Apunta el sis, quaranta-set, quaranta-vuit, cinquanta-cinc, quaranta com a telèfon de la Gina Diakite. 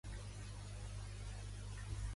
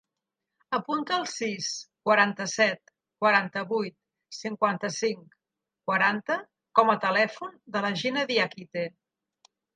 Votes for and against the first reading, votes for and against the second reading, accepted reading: 0, 2, 2, 0, second